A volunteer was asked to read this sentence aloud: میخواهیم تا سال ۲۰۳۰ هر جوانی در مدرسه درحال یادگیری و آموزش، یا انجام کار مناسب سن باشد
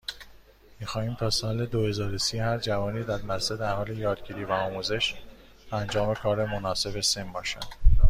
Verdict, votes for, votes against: rejected, 0, 2